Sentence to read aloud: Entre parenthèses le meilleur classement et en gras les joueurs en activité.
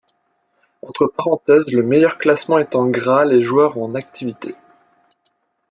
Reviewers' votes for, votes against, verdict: 2, 1, accepted